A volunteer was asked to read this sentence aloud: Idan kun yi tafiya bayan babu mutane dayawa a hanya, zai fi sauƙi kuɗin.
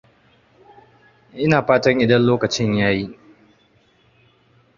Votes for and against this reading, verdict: 0, 2, rejected